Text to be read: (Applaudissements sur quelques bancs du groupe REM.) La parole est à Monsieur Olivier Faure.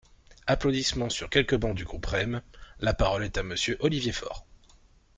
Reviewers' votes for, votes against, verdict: 2, 0, accepted